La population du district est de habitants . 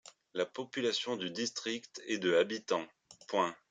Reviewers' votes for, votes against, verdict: 3, 1, accepted